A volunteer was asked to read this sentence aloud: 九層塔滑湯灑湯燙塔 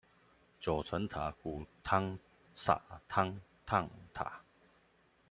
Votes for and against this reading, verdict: 0, 2, rejected